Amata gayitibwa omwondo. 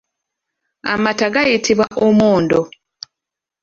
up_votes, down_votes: 2, 0